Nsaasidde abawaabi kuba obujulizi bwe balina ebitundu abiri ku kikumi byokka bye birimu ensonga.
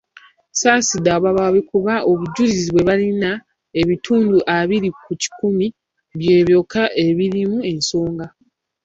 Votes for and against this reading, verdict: 1, 2, rejected